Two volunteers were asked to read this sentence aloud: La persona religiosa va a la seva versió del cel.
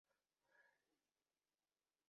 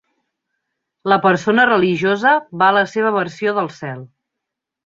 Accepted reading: second